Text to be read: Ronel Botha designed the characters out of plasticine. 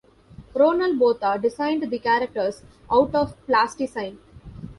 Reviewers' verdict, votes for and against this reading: accepted, 2, 0